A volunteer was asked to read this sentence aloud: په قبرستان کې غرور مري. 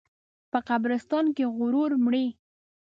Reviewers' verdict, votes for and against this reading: accepted, 2, 0